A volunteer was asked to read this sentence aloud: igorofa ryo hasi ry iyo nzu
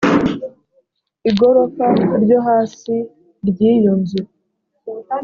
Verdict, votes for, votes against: accepted, 2, 0